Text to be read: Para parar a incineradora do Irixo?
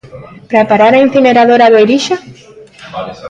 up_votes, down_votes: 2, 0